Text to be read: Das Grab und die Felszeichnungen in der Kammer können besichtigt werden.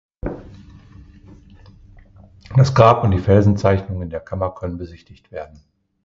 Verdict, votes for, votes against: rejected, 1, 2